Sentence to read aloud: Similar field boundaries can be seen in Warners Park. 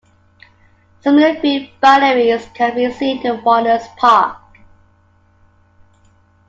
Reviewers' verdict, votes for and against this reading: accepted, 2, 1